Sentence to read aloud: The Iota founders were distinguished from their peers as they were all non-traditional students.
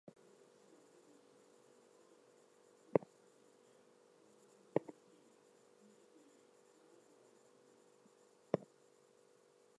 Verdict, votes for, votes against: rejected, 0, 4